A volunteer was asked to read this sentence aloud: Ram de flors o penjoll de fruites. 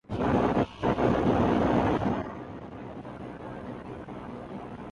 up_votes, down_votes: 0, 3